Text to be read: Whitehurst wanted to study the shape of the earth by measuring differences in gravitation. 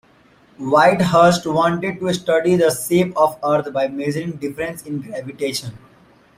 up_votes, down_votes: 1, 2